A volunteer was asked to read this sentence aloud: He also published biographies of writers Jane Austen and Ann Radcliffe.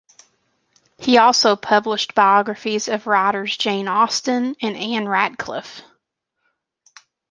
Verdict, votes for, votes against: accepted, 2, 0